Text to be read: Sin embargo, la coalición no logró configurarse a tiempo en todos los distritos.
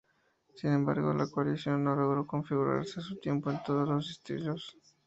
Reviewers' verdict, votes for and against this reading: rejected, 0, 4